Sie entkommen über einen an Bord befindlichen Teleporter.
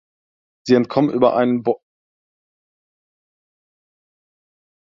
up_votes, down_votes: 0, 2